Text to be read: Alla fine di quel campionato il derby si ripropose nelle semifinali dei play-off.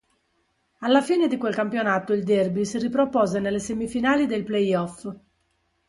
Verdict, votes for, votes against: accepted, 2, 0